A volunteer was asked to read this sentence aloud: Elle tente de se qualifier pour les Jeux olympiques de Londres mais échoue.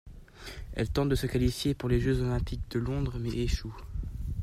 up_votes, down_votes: 2, 0